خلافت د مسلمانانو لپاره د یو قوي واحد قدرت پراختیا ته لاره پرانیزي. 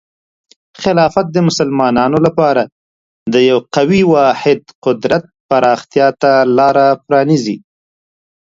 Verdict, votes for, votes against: accepted, 2, 0